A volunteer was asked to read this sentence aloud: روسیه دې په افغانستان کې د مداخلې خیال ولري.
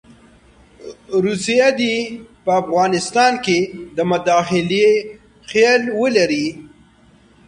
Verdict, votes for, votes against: rejected, 0, 2